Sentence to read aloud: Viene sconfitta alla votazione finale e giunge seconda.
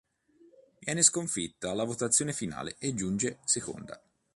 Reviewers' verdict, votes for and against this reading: accepted, 2, 0